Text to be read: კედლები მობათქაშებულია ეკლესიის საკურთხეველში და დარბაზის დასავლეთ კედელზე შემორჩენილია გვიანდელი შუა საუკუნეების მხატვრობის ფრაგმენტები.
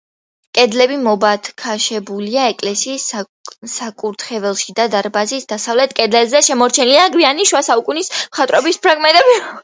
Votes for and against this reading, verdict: 0, 2, rejected